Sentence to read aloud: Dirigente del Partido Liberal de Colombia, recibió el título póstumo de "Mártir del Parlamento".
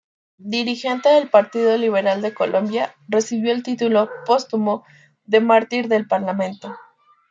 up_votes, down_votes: 1, 2